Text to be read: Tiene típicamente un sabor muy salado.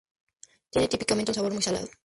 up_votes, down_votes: 2, 0